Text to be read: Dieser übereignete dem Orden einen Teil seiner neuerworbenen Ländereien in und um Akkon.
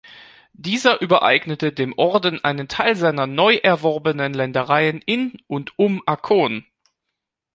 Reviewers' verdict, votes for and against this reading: rejected, 1, 2